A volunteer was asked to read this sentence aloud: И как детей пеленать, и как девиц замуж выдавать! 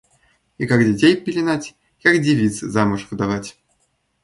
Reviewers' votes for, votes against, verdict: 2, 0, accepted